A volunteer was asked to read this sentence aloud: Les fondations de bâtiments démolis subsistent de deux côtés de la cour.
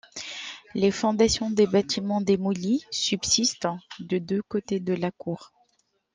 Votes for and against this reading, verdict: 3, 0, accepted